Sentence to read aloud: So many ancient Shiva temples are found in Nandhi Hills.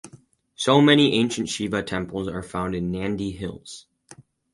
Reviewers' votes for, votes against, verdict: 4, 0, accepted